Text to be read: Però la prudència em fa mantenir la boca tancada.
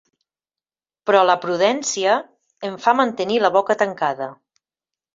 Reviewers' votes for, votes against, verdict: 4, 0, accepted